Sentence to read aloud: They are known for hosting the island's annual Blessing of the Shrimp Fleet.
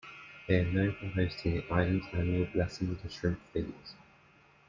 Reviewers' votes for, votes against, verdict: 2, 1, accepted